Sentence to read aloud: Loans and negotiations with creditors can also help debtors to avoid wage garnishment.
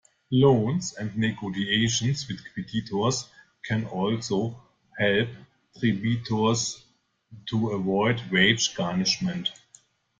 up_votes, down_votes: 1, 2